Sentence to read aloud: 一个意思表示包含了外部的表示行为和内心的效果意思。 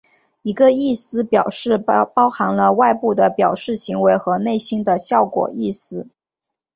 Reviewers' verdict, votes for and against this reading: accepted, 2, 0